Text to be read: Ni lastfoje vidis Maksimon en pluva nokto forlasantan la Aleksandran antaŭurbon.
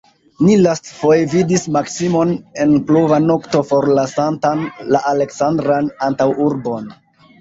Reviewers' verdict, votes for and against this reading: accepted, 2, 0